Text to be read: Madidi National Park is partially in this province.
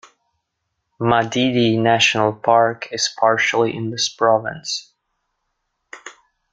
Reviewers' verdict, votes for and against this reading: accepted, 2, 0